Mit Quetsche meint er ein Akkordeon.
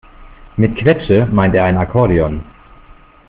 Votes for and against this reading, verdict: 2, 0, accepted